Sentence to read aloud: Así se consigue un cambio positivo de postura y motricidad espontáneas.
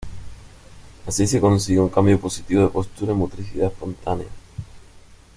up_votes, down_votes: 1, 2